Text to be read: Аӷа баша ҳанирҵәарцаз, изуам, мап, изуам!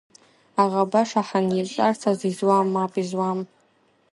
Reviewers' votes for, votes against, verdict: 0, 2, rejected